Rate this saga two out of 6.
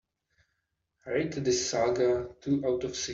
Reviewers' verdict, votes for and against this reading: rejected, 0, 2